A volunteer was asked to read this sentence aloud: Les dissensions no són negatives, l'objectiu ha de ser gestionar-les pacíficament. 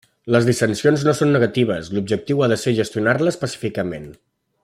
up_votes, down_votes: 2, 0